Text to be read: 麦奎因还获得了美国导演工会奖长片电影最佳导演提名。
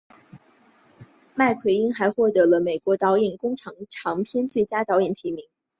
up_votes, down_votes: 4, 2